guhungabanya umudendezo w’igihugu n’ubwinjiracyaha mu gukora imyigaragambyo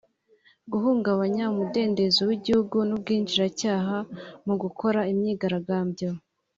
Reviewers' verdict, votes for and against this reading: accepted, 2, 0